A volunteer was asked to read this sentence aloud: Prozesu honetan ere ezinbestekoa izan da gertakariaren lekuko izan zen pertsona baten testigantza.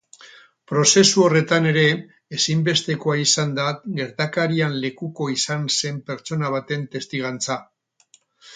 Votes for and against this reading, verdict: 2, 6, rejected